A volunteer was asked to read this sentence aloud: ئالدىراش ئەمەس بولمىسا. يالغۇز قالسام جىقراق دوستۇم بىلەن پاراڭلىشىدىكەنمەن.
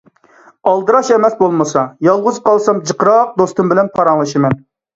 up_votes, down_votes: 0, 2